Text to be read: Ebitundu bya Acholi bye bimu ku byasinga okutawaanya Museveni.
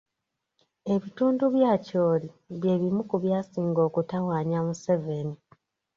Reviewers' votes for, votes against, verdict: 0, 2, rejected